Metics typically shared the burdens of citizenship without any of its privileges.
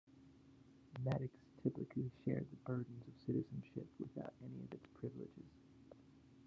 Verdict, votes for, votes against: accepted, 2, 1